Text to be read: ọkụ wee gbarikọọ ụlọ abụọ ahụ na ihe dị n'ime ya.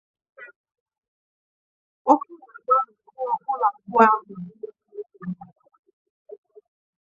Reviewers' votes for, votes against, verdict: 0, 2, rejected